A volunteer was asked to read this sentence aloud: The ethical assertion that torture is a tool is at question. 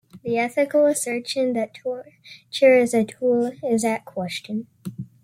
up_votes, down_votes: 1, 2